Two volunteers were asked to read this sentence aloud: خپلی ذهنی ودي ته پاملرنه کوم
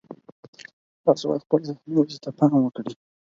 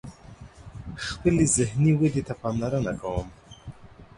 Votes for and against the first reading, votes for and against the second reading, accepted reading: 0, 4, 4, 0, second